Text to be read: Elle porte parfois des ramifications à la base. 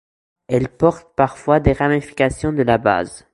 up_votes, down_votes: 1, 3